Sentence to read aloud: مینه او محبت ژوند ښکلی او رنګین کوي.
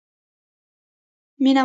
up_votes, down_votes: 0, 2